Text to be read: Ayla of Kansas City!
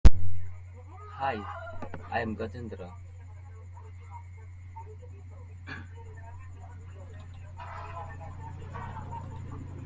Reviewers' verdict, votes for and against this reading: rejected, 1, 2